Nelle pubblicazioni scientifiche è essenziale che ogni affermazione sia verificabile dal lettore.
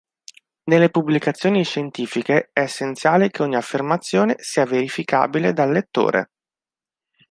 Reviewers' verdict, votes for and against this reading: accepted, 2, 0